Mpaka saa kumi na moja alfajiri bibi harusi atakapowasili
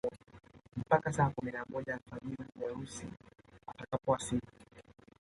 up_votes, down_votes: 2, 0